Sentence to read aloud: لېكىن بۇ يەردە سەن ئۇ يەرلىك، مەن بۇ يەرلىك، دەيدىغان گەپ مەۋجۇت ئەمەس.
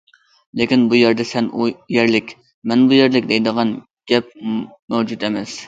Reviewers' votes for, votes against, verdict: 2, 1, accepted